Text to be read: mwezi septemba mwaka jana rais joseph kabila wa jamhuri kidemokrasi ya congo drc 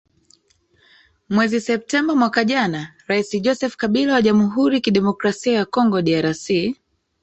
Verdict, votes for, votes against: rejected, 1, 2